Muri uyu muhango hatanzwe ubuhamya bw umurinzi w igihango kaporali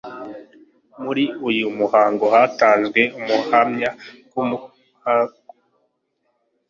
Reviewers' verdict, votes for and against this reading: rejected, 1, 2